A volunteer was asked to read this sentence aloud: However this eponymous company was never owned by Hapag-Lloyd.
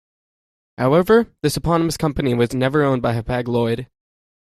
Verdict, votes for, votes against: accepted, 2, 0